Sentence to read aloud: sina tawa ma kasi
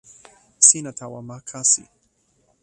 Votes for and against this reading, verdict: 0, 2, rejected